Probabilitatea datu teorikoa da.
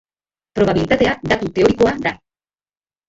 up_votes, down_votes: 0, 3